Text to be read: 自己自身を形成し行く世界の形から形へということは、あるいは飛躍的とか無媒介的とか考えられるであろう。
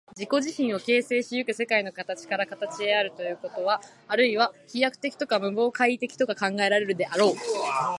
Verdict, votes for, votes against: rejected, 1, 2